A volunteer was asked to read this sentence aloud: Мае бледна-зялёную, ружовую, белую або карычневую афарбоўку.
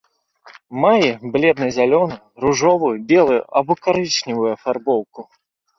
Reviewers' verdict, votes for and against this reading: accepted, 2, 0